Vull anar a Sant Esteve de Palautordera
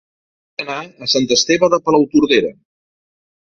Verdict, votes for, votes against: rejected, 1, 2